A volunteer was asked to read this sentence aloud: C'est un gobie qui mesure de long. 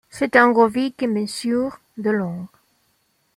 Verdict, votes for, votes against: rejected, 1, 2